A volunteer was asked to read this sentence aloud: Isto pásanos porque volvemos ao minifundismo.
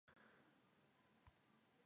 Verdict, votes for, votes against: rejected, 0, 2